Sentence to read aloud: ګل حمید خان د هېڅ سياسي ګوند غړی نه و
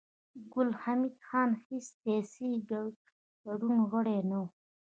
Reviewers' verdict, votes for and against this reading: accepted, 2, 0